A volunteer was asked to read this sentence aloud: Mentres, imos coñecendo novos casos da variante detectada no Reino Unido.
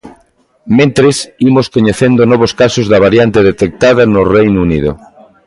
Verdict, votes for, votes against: accepted, 2, 0